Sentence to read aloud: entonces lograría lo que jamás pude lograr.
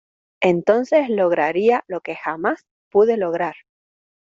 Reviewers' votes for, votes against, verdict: 2, 0, accepted